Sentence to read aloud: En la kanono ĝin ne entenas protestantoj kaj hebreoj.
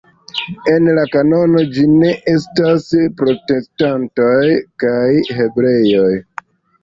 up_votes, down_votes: 1, 2